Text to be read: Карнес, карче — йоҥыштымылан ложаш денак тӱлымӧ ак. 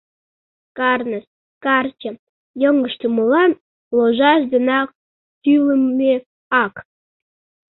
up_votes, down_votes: 2, 0